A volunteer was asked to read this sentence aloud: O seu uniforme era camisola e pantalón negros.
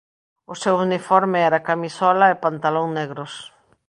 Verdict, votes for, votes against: accepted, 2, 0